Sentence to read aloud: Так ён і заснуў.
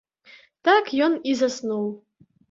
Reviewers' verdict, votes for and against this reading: accepted, 2, 0